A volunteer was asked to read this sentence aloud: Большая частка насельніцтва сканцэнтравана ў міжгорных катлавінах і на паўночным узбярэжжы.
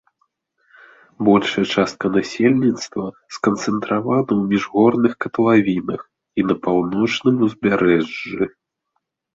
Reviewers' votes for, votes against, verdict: 2, 0, accepted